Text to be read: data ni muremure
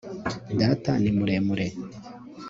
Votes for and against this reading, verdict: 2, 0, accepted